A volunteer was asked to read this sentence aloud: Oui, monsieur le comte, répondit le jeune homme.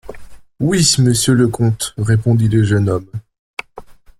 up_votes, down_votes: 1, 2